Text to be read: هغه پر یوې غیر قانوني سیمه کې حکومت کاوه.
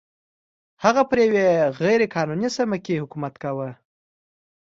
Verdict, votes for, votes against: accepted, 2, 0